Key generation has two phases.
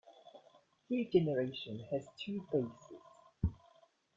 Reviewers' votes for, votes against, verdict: 1, 2, rejected